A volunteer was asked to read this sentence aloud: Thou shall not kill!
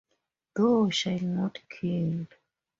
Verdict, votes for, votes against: rejected, 0, 2